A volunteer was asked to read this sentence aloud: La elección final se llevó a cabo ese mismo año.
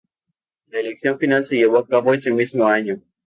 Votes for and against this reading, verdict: 2, 2, rejected